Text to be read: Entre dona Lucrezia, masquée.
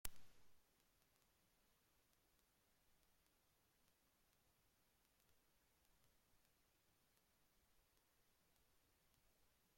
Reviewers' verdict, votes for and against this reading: rejected, 0, 2